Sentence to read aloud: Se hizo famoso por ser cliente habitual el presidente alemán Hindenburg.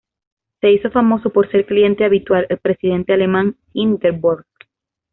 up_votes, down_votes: 2, 0